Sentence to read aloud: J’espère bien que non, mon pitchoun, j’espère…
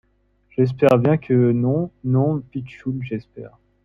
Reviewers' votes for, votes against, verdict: 1, 2, rejected